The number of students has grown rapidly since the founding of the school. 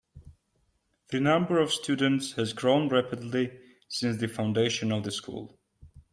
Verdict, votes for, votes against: rejected, 1, 2